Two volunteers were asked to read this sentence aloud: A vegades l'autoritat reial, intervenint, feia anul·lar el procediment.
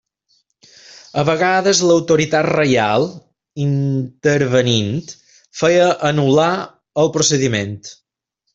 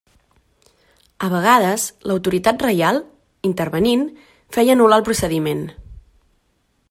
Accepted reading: second